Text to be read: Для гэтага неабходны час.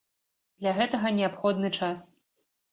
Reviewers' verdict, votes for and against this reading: accepted, 2, 0